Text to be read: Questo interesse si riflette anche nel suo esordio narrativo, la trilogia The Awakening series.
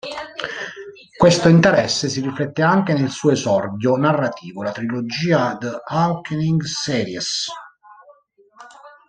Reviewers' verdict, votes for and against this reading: rejected, 1, 2